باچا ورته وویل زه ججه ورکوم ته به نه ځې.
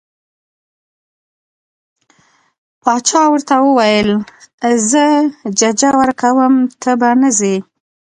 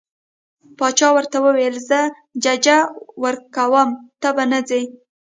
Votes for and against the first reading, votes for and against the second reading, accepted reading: 2, 0, 0, 2, first